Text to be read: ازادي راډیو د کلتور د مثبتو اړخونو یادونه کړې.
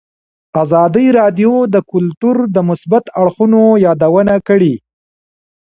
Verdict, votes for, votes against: rejected, 1, 2